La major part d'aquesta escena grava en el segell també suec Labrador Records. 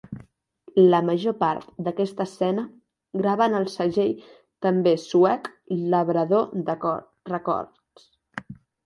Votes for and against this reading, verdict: 0, 3, rejected